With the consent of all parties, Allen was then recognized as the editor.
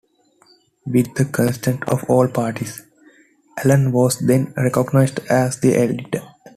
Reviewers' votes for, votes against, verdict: 1, 2, rejected